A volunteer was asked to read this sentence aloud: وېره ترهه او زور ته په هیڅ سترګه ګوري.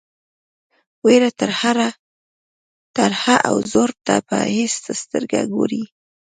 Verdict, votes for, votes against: rejected, 1, 2